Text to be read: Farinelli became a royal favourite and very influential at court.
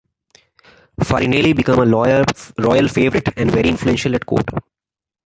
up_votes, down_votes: 1, 3